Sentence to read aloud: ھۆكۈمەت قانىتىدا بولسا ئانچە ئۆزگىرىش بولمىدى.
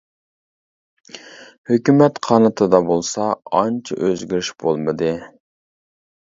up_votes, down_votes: 2, 0